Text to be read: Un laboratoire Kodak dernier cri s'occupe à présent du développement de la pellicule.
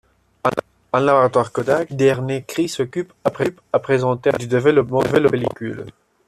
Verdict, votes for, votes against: rejected, 0, 2